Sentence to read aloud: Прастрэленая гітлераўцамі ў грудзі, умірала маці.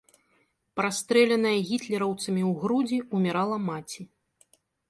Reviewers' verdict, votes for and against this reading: accepted, 2, 0